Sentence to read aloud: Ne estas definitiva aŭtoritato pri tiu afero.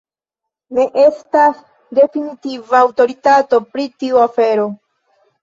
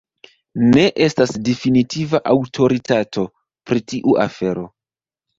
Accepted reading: first